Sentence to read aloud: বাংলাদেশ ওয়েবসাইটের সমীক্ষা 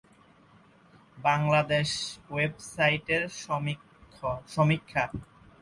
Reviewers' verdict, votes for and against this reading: rejected, 0, 2